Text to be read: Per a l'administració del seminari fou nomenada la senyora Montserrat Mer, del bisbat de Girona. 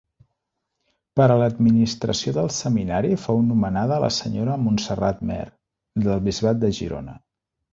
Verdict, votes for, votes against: accepted, 3, 0